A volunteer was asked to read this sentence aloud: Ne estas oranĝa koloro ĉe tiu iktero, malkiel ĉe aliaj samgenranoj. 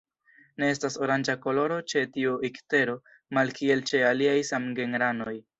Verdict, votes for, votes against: accepted, 2, 0